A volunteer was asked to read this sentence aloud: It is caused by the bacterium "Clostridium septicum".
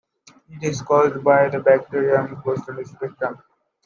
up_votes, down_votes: 0, 2